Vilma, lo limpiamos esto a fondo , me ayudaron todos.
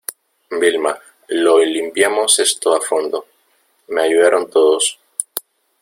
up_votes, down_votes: 0, 2